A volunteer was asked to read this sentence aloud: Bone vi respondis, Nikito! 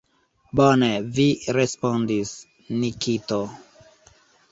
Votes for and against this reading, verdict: 2, 1, accepted